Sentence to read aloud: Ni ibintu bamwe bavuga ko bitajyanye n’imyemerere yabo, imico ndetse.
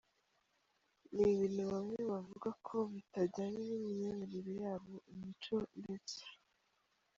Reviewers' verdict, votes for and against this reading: rejected, 1, 2